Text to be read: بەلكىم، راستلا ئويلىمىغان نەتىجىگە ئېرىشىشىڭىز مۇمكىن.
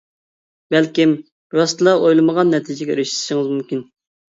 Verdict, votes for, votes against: accepted, 2, 1